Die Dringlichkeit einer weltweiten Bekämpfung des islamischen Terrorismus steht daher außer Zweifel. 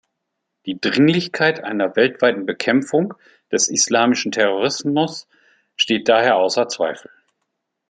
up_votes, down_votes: 2, 0